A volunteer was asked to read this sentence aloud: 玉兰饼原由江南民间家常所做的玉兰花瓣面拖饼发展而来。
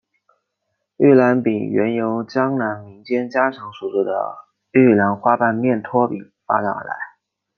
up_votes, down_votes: 1, 2